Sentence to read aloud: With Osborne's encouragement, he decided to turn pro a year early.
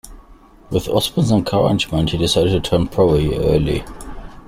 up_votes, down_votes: 2, 1